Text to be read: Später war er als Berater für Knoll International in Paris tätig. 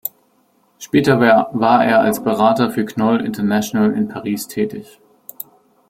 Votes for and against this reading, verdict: 0, 2, rejected